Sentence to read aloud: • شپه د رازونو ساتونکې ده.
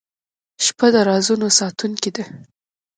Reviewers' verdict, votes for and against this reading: rejected, 0, 2